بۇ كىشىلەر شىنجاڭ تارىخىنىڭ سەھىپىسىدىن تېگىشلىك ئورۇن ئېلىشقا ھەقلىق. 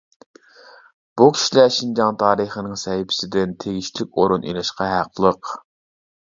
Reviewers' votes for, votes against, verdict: 2, 0, accepted